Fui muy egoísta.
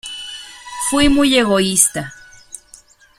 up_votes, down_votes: 2, 0